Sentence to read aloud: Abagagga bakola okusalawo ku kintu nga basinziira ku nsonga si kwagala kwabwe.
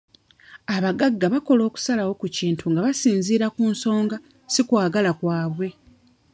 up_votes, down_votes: 1, 2